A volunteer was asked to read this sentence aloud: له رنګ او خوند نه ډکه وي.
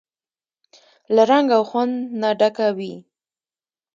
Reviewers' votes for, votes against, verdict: 2, 0, accepted